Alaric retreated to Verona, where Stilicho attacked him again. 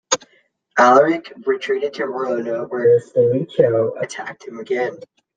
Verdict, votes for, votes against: accepted, 2, 0